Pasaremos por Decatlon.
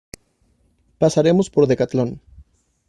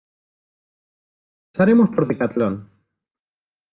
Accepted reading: first